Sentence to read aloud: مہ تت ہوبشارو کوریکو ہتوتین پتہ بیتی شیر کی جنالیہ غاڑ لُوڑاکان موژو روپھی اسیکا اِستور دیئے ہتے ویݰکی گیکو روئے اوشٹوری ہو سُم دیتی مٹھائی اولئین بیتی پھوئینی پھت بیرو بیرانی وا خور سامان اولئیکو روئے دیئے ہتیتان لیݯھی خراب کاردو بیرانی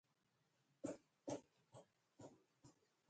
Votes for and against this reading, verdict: 0, 2, rejected